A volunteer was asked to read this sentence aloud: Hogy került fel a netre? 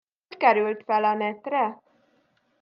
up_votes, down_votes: 0, 2